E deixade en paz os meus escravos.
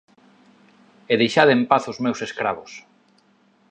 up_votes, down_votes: 2, 0